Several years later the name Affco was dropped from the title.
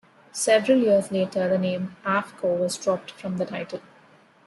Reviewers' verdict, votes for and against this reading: rejected, 0, 2